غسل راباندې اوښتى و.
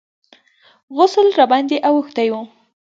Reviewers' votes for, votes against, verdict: 1, 2, rejected